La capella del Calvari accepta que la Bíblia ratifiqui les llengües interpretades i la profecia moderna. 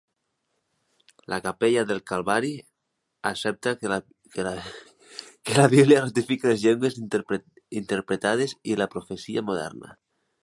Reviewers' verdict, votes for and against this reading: rejected, 0, 2